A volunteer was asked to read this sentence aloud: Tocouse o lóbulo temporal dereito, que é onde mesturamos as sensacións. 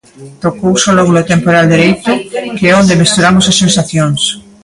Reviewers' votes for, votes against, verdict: 0, 2, rejected